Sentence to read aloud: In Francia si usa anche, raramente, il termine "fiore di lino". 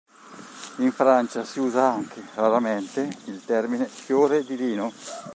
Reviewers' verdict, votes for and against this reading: accepted, 3, 0